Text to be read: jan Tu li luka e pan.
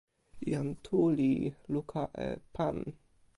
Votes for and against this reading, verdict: 2, 0, accepted